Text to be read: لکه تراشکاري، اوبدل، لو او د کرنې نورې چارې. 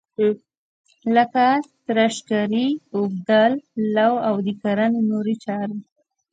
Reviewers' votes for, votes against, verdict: 0, 2, rejected